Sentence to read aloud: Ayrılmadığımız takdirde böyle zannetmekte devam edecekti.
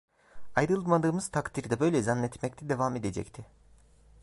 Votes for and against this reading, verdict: 1, 2, rejected